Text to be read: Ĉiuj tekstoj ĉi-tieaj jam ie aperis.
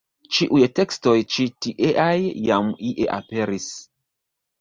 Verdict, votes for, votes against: accepted, 2, 1